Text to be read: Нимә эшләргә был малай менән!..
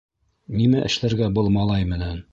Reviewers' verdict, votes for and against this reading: accepted, 2, 0